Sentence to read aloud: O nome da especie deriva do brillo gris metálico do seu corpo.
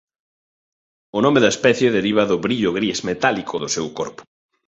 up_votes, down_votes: 2, 0